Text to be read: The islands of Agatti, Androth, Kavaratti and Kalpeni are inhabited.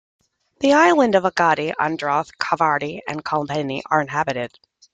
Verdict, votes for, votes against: accepted, 2, 0